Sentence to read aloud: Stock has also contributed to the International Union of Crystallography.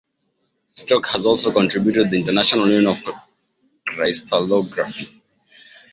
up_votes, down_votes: 0, 2